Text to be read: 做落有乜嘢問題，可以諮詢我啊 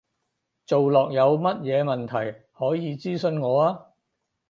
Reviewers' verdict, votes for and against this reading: accepted, 4, 0